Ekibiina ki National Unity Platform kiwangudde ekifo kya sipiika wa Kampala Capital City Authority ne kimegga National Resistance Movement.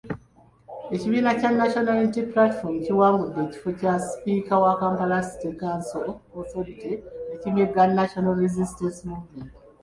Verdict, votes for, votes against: rejected, 1, 2